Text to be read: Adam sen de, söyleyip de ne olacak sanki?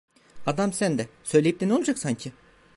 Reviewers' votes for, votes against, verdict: 2, 0, accepted